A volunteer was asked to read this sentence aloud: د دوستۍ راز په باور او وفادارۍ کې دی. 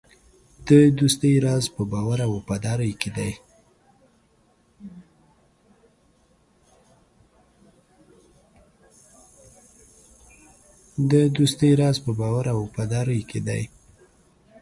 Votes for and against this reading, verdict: 2, 1, accepted